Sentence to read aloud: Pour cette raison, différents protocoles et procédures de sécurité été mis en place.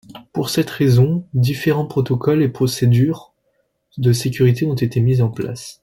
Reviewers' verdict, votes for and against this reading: rejected, 1, 2